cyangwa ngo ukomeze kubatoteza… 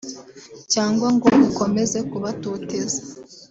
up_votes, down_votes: 0, 2